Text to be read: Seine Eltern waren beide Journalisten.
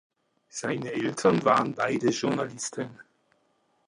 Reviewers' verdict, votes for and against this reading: accepted, 2, 0